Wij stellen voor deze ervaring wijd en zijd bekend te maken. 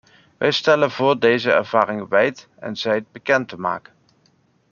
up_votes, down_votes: 2, 0